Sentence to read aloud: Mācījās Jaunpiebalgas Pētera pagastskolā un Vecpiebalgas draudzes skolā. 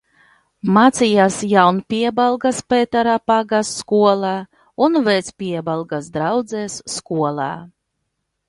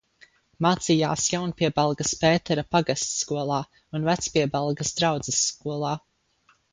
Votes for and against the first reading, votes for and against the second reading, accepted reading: 1, 2, 2, 0, second